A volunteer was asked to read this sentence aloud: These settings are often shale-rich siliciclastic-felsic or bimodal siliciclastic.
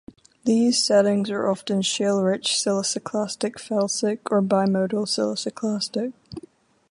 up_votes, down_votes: 4, 4